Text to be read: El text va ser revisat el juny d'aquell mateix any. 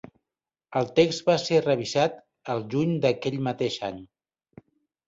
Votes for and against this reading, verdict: 2, 0, accepted